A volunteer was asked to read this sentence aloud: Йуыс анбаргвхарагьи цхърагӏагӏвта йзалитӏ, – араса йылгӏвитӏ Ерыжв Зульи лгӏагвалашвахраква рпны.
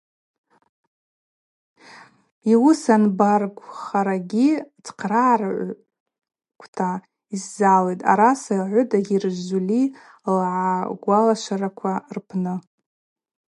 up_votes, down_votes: 2, 4